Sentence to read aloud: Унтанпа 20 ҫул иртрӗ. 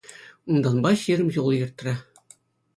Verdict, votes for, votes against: rejected, 0, 2